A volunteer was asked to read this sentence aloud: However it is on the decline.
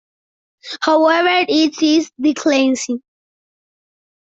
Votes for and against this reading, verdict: 0, 2, rejected